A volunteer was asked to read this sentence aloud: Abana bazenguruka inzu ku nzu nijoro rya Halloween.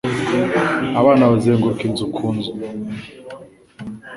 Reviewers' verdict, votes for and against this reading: rejected, 1, 2